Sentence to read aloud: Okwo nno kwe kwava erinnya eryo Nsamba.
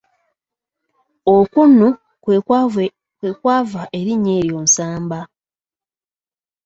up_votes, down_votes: 0, 2